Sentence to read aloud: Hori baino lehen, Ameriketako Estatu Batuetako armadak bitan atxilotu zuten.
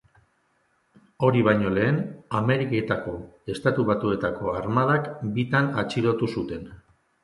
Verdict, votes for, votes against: accepted, 2, 0